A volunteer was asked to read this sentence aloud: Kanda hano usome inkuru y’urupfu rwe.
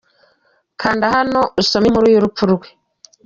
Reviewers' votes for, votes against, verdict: 2, 0, accepted